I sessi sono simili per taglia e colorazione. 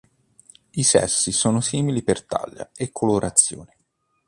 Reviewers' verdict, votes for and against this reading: accepted, 2, 0